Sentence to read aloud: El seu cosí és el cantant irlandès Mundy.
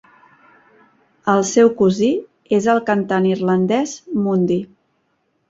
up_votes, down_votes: 2, 0